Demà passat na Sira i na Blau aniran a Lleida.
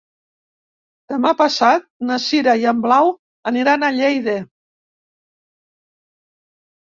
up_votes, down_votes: 1, 2